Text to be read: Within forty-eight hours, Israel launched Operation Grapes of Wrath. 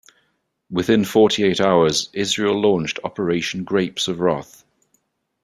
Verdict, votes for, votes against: rejected, 0, 2